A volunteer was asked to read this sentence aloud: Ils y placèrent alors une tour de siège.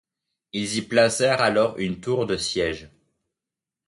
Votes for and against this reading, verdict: 2, 0, accepted